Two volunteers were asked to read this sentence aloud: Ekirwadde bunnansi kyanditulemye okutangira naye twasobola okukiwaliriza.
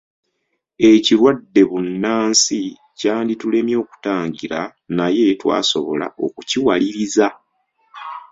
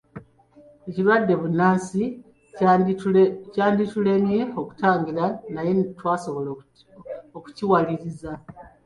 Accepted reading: first